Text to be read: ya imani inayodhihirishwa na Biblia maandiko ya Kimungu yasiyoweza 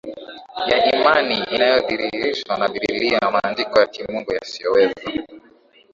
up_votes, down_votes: 1, 3